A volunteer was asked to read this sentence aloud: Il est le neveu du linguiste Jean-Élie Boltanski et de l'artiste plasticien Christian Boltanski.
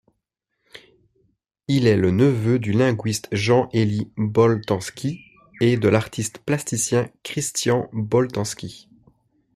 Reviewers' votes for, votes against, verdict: 2, 0, accepted